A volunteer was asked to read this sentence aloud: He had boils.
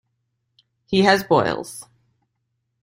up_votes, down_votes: 1, 2